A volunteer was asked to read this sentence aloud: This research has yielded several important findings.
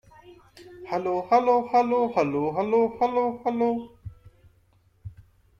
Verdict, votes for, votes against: rejected, 0, 2